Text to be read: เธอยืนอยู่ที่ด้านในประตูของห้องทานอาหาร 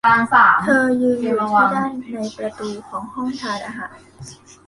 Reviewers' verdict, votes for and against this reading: rejected, 0, 2